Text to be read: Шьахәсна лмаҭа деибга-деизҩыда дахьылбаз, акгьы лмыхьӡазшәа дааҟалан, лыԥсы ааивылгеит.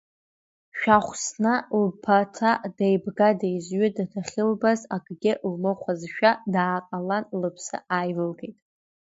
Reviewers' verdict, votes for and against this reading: rejected, 1, 2